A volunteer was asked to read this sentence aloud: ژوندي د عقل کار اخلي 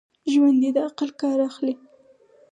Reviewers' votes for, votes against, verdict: 4, 0, accepted